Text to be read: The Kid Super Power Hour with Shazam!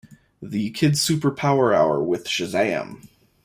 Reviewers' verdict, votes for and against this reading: accepted, 2, 0